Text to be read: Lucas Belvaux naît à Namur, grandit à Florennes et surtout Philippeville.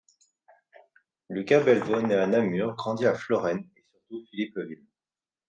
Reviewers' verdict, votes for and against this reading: rejected, 0, 2